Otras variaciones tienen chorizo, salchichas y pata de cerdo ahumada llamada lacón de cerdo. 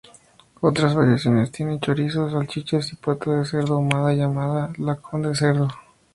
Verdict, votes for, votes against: accepted, 2, 0